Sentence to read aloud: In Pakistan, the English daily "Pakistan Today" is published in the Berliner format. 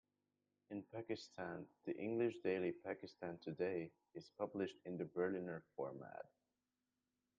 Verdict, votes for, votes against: rejected, 0, 2